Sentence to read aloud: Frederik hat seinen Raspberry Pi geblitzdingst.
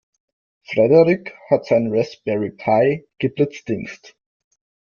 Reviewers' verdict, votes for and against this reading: accepted, 2, 0